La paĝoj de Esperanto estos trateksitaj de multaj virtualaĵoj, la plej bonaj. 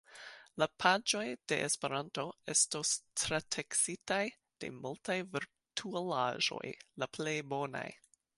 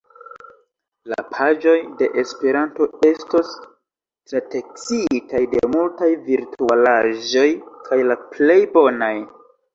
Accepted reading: second